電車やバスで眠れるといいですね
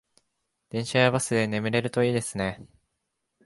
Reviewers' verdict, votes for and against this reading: accepted, 2, 0